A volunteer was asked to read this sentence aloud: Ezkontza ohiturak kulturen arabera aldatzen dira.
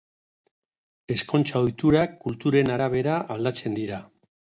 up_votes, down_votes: 0, 2